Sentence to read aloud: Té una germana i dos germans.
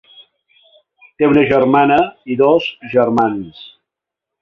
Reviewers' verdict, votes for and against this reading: accepted, 4, 1